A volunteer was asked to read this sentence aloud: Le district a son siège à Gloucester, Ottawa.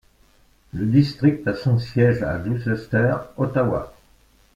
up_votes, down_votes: 2, 0